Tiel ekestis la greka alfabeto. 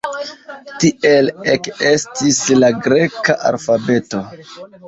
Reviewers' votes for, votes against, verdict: 1, 2, rejected